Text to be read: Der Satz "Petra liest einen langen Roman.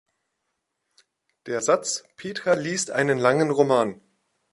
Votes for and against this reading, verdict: 2, 0, accepted